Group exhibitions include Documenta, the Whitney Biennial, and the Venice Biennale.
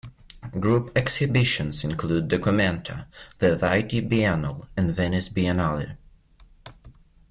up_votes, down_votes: 0, 2